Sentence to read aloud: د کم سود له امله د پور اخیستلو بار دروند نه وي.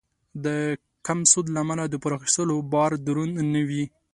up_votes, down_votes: 2, 0